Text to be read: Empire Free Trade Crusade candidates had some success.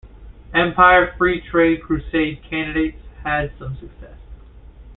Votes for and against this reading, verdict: 2, 0, accepted